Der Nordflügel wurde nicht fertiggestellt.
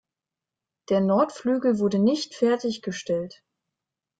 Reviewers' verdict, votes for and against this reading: accepted, 2, 0